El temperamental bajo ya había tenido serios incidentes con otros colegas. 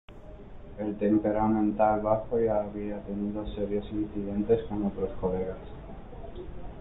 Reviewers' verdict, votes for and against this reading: rejected, 1, 2